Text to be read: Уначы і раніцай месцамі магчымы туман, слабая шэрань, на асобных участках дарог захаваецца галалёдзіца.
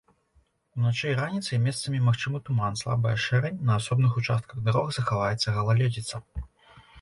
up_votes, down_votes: 2, 1